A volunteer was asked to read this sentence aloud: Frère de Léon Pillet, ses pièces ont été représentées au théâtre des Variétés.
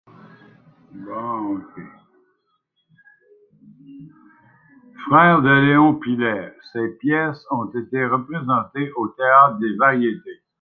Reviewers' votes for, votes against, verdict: 1, 2, rejected